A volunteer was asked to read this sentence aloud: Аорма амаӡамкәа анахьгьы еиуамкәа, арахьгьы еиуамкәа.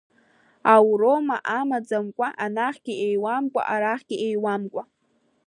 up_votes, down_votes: 1, 2